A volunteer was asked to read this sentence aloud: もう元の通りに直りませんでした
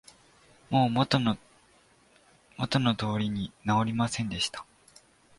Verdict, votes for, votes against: rejected, 0, 3